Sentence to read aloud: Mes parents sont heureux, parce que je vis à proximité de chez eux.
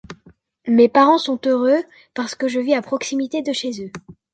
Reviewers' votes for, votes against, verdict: 2, 0, accepted